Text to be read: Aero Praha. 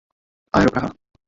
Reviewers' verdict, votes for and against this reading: rejected, 0, 2